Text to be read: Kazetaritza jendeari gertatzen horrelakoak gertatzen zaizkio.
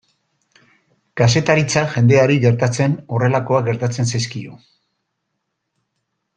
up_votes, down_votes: 2, 0